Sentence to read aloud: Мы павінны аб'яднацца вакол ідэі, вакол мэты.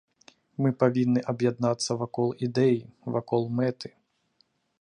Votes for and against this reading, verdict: 3, 0, accepted